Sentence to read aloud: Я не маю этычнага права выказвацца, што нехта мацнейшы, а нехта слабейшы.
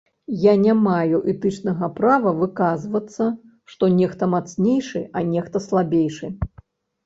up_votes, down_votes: 1, 2